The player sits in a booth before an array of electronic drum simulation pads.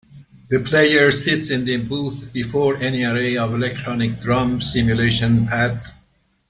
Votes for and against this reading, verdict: 2, 0, accepted